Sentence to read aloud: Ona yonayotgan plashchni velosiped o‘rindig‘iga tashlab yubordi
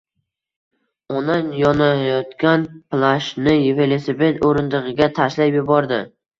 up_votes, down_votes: 1, 2